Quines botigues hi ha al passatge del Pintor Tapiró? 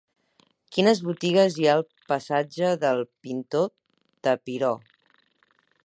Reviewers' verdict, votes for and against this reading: rejected, 6, 8